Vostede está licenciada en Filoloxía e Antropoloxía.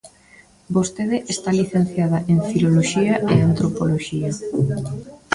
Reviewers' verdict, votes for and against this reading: rejected, 1, 2